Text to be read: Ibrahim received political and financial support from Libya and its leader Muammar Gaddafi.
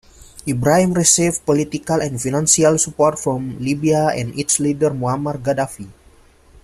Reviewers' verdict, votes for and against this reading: rejected, 0, 2